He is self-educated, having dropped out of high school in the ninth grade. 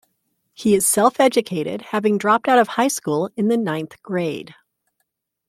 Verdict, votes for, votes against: accepted, 3, 0